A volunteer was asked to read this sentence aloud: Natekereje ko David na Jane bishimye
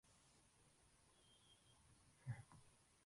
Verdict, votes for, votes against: rejected, 0, 2